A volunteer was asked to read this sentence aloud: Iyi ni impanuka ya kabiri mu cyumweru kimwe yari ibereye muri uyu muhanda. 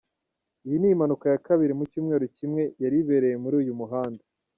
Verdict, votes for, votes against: accepted, 2, 0